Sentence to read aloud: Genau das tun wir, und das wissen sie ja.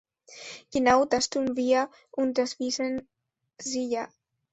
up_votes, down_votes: 2, 0